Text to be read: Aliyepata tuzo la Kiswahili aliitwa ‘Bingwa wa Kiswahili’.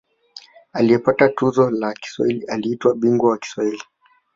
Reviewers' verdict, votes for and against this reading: accepted, 2, 0